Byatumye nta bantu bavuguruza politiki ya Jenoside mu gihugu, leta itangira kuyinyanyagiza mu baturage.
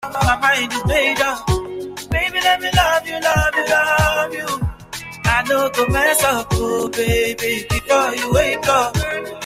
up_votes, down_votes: 0, 3